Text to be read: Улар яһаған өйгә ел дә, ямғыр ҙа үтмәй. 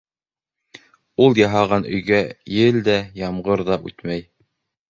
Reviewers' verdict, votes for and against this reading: rejected, 1, 2